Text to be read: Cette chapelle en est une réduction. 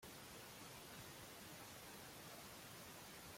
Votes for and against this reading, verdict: 0, 2, rejected